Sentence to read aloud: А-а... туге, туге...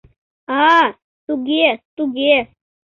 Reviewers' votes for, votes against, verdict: 2, 0, accepted